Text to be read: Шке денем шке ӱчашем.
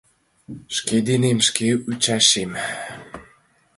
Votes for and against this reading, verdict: 2, 0, accepted